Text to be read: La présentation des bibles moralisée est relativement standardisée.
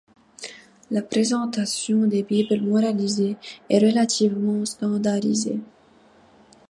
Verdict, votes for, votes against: accepted, 2, 0